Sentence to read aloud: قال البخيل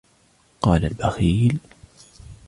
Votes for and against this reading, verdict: 1, 2, rejected